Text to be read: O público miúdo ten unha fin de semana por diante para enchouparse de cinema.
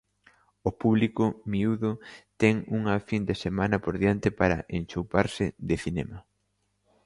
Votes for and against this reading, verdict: 2, 0, accepted